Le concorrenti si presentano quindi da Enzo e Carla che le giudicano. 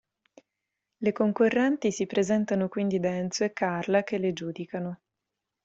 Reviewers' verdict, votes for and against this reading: accepted, 2, 0